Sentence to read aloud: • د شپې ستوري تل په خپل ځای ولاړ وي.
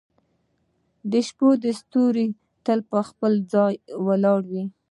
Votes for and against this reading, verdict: 2, 0, accepted